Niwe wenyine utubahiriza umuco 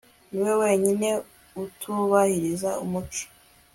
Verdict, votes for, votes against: accepted, 2, 0